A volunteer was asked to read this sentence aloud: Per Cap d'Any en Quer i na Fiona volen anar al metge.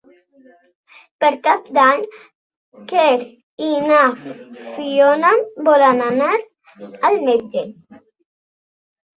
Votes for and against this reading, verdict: 0, 2, rejected